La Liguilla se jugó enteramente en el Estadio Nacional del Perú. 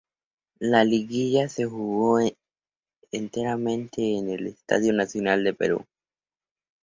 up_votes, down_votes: 0, 2